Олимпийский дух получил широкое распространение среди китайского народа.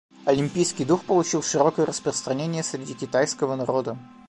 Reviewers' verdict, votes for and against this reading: accepted, 2, 1